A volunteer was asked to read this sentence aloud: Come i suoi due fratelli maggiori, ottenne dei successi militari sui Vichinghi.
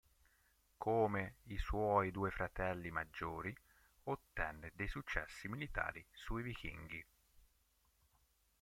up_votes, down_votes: 1, 2